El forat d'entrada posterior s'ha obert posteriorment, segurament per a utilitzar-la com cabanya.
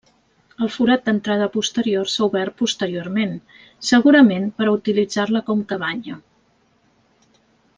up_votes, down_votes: 3, 0